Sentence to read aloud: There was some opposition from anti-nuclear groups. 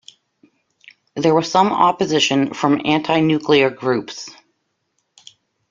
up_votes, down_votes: 2, 0